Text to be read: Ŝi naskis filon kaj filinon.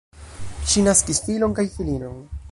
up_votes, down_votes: 1, 2